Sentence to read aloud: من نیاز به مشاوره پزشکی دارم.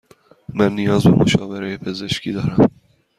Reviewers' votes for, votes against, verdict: 2, 0, accepted